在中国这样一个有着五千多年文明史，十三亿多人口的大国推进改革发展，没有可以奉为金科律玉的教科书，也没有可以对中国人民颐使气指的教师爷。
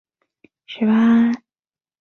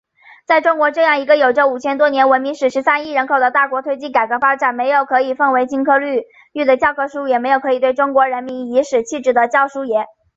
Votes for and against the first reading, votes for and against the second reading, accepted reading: 0, 2, 7, 0, second